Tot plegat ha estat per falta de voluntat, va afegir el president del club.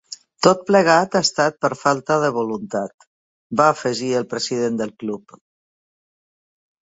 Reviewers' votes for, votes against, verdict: 2, 0, accepted